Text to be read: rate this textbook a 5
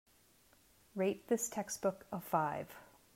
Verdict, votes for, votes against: rejected, 0, 2